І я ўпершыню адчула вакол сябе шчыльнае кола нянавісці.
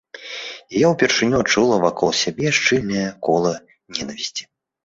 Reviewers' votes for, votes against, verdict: 0, 2, rejected